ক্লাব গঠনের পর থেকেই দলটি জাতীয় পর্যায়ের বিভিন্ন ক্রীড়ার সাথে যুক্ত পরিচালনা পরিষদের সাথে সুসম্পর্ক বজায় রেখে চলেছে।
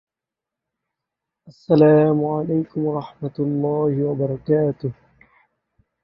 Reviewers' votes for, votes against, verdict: 0, 2, rejected